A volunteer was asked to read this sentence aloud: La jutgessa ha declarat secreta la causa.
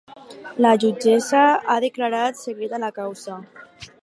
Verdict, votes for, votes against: accepted, 4, 0